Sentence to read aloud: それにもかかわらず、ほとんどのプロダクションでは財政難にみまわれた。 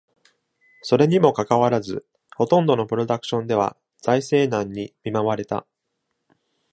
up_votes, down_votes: 2, 0